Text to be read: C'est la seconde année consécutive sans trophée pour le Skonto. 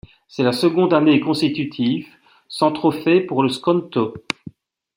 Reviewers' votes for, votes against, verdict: 2, 0, accepted